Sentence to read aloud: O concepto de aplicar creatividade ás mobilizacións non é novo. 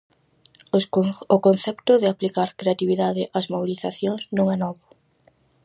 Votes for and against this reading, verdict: 0, 4, rejected